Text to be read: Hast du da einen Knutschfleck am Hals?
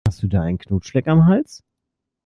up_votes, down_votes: 2, 0